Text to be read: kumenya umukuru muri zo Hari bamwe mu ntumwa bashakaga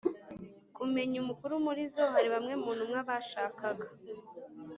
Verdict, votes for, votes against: accepted, 2, 0